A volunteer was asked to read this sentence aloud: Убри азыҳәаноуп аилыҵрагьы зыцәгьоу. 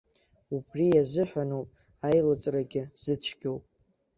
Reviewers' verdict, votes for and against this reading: accepted, 2, 0